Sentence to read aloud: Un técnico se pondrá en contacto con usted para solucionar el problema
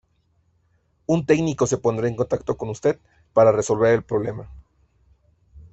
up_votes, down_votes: 0, 2